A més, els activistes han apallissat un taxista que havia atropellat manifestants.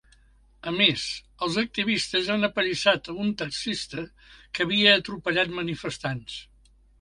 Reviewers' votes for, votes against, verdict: 1, 2, rejected